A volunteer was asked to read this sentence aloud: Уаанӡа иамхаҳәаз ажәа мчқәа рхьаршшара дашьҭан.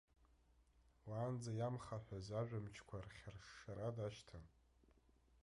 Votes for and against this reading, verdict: 1, 2, rejected